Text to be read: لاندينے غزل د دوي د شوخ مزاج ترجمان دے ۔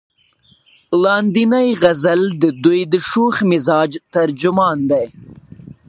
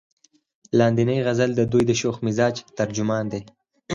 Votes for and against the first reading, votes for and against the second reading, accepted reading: 0, 2, 4, 2, second